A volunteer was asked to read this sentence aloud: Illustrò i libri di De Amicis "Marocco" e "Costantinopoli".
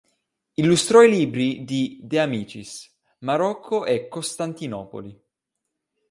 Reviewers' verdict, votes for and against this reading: accepted, 2, 1